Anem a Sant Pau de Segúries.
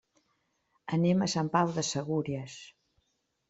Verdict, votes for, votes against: accepted, 3, 0